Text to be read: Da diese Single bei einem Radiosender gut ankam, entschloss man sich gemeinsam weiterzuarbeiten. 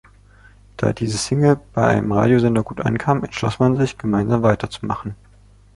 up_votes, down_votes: 0, 2